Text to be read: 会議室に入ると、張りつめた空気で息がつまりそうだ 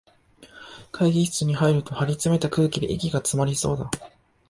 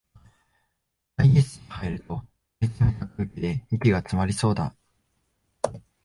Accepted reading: first